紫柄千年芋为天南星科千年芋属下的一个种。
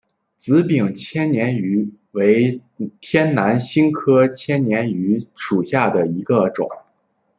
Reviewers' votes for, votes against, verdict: 1, 2, rejected